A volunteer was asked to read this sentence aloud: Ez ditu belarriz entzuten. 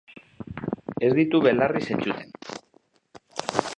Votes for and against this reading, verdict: 0, 2, rejected